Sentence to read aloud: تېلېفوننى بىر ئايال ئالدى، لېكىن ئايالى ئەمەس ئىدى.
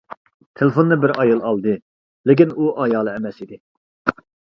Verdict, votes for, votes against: rejected, 0, 2